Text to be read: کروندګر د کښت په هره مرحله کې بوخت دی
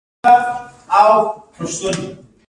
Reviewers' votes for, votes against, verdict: 2, 0, accepted